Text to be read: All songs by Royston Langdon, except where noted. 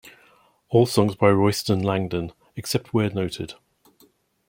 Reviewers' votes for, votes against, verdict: 2, 0, accepted